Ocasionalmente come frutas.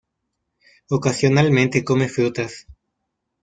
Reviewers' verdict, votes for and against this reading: rejected, 1, 2